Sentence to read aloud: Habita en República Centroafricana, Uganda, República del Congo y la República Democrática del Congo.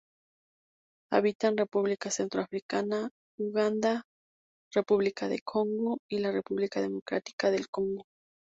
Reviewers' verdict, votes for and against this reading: accepted, 2, 0